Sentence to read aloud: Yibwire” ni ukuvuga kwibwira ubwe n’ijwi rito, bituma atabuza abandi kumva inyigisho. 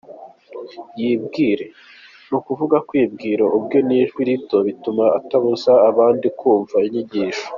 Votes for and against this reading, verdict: 2, 0, accepted